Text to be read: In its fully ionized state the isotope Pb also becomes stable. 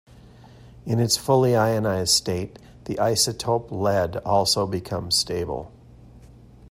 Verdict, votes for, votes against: accepted, 2, 0